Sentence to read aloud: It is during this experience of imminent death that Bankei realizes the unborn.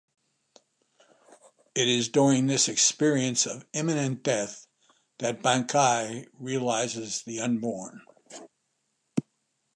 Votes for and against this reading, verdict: 2, 0, accepted